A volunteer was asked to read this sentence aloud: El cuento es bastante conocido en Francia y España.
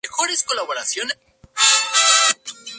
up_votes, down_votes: 0, 2